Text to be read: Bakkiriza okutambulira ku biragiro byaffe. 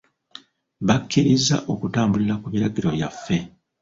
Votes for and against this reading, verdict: 1, 2, rejected